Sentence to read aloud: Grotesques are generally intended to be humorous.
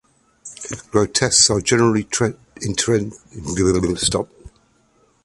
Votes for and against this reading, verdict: 0, 2, rejected